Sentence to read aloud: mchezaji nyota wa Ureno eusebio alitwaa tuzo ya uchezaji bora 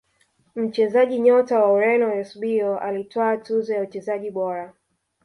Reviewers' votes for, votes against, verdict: 2, 0, accepted